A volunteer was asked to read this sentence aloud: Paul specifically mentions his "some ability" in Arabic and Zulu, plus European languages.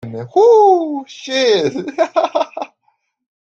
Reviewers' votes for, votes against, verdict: 0, 2, rejected